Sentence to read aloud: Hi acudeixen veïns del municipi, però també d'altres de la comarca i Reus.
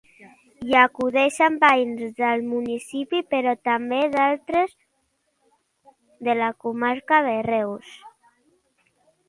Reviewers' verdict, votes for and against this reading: rejected, 0, 2